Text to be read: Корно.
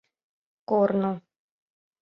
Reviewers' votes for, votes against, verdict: 2, 0, accepted